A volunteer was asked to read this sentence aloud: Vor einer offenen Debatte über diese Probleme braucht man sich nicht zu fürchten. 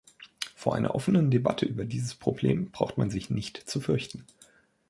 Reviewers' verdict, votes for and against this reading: rejected, 1, 2